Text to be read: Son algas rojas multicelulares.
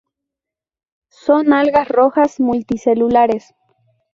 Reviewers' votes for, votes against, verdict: 0, 2, rejected